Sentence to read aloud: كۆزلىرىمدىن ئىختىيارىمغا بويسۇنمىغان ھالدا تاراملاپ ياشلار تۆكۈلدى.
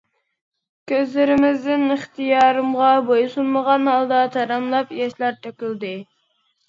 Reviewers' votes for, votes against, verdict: 1, 2, rejected